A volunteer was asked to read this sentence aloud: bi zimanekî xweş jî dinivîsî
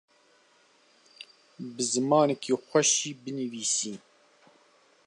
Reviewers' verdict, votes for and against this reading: rejected, 1, 2